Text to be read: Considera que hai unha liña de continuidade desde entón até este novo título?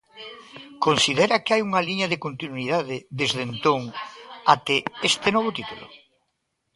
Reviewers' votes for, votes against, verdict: 1, 2, rejected